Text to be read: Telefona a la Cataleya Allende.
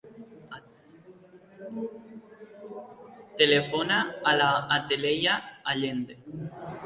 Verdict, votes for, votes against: rejected, 0, 2